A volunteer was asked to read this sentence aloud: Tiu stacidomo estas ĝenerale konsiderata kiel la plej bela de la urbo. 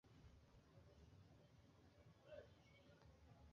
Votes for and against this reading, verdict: 2, 1, accepted